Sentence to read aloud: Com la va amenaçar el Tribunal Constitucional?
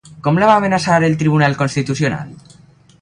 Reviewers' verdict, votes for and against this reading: accepted, 4, 0